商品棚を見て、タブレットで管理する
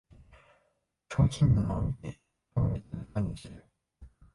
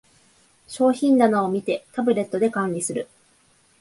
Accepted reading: second